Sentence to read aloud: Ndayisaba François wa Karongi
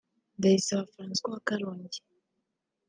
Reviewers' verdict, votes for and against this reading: accepted, 2, 0